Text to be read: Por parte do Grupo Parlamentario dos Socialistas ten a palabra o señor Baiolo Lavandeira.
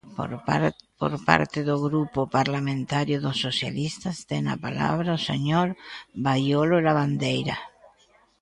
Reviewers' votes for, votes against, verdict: 0, 2, rejected